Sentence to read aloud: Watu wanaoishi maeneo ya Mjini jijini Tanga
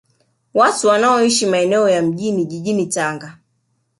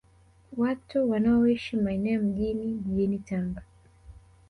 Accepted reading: second